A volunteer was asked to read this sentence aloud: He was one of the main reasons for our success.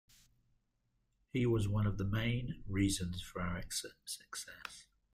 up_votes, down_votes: 0, 2